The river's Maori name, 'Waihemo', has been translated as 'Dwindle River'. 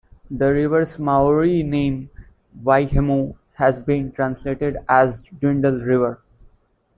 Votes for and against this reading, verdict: 2, 1, accepted